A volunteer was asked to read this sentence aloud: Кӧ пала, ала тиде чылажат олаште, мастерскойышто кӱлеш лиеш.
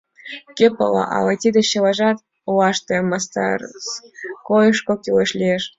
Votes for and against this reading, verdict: 2, 1, accepted